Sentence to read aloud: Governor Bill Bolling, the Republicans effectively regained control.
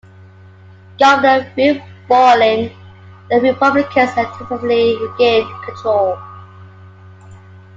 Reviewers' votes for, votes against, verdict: 2, 1, accepted